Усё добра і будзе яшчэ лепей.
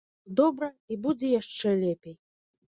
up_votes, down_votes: 1, 2